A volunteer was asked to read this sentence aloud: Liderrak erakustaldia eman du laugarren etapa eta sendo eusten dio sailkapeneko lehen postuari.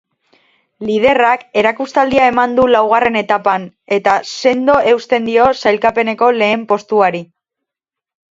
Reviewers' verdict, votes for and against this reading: rejected, 0, 2